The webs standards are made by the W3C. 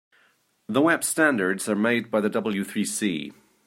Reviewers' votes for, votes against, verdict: 0, 2, rejected